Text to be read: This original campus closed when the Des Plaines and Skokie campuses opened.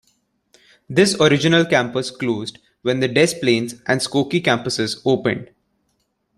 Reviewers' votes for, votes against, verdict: 2, 0, accepted